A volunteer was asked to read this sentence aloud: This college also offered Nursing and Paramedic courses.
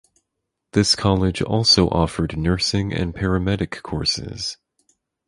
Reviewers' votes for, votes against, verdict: 4, 0, accepted